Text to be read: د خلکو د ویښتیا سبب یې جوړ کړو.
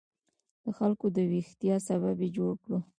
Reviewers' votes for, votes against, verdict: 1, 2, rejected